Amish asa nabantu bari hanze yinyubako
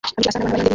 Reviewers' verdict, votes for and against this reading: rejected, 0, 2